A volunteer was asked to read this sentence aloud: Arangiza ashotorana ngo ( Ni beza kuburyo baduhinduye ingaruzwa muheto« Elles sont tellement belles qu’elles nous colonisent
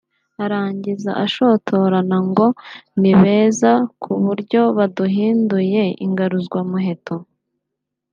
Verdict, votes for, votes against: rejected, 1, 4